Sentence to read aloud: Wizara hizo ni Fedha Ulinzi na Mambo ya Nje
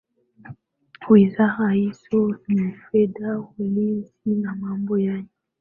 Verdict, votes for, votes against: accepted, 2, 0